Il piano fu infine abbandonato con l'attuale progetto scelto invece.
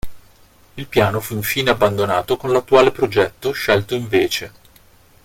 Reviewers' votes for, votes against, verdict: 1, 2, rejected